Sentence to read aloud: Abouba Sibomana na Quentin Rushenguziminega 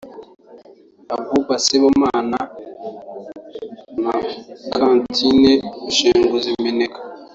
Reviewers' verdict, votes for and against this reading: rejected, 1, 2